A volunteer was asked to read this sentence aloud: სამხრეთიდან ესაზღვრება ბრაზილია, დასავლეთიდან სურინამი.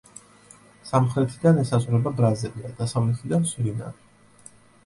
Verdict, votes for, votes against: accepted, 2, 0